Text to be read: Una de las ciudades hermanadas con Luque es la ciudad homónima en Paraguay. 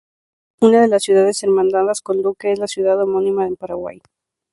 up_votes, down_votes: 2, 0